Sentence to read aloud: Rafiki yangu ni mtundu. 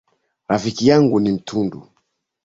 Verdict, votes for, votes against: accepted, 3, 0